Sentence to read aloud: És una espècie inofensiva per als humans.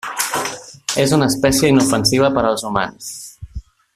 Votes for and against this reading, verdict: 1, 2, rejected